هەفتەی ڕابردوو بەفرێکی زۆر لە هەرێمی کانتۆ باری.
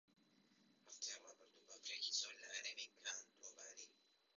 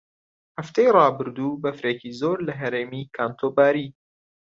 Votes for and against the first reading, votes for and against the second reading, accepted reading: 0, 2, 2, 0, second